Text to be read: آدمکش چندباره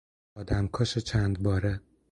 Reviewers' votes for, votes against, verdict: 4, 0, accepted